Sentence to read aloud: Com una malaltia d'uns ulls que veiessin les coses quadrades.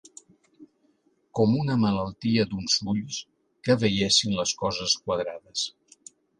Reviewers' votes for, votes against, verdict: 3, 0, accepted